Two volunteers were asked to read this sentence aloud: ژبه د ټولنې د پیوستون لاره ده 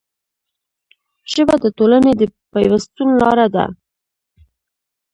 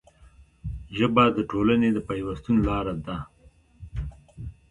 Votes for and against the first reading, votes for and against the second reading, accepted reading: 1, 2, 2, 1, second